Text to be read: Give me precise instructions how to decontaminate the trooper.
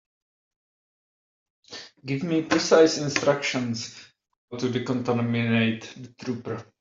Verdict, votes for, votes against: rejected, 0, 2